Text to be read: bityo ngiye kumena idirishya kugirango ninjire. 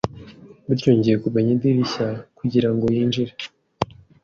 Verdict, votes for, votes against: rejected, 1, 2